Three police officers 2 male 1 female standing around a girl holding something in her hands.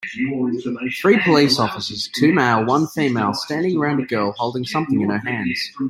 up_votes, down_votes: 0, 2